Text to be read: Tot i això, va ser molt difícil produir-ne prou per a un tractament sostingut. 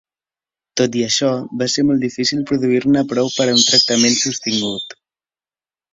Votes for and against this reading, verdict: 2, 0, accepted